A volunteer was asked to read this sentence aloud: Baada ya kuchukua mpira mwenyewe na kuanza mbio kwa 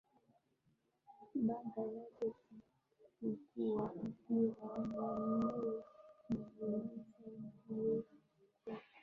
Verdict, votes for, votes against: rejected, 4, 7